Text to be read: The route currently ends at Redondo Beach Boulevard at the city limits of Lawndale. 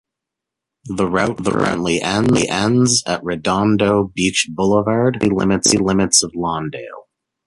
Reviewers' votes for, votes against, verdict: 0, 2, rejected